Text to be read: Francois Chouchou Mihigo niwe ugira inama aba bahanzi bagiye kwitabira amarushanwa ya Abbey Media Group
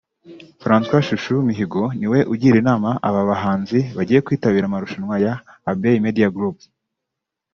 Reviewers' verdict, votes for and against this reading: accepted, 2, 0